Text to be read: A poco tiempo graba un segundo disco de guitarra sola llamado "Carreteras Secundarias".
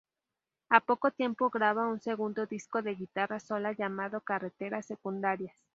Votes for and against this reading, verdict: 0, 2, rejected